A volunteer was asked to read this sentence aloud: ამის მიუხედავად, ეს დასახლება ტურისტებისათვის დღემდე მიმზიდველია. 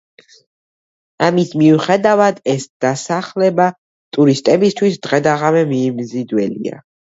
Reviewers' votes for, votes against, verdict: 1, 2, rejected